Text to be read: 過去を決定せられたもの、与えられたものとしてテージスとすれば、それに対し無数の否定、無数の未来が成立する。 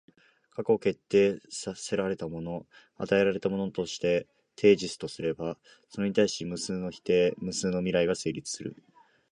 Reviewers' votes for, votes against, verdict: 1, 2, rejected